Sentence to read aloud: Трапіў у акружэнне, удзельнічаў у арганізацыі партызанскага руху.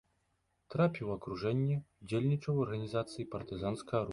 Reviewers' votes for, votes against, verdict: 0, 2, rejected